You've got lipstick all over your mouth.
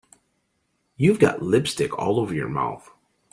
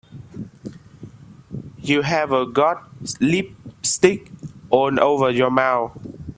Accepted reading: first